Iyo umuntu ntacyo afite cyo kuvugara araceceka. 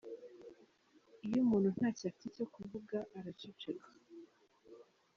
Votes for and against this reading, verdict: 2, 0, accepted